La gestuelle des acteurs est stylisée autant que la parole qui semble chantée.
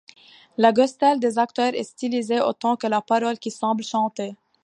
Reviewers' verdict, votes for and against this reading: rejected, 1, 2